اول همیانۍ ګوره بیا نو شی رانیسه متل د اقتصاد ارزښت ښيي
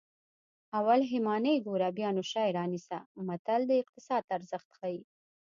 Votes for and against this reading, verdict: 2, 0, accepted